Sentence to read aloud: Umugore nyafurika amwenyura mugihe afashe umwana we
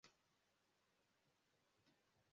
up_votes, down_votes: 0, 2